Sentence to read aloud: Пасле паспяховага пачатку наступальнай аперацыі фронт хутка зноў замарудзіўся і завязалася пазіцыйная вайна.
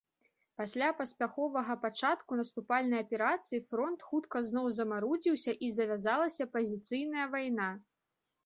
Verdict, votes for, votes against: accepted, 2, 0